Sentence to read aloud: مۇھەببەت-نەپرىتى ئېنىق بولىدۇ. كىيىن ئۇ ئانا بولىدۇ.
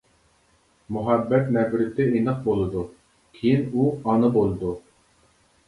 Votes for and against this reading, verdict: 2, 0, accepted